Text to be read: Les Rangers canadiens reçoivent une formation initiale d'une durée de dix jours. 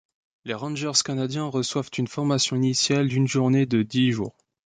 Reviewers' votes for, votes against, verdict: 0, 2, rejected